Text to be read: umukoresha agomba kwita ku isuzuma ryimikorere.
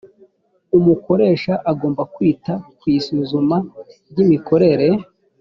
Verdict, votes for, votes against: accepted, 3, 0